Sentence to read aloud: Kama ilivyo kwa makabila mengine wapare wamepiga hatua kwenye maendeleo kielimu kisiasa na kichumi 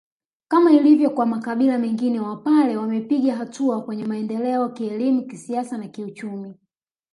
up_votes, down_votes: 1, 2